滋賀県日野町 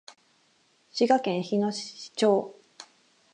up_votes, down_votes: 2, 4